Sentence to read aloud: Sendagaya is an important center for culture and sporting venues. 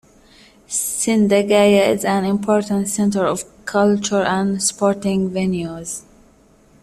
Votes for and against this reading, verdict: 0, 2, rejected